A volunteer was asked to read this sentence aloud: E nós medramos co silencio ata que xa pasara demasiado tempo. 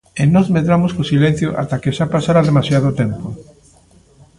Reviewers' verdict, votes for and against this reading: accepted, 2, 0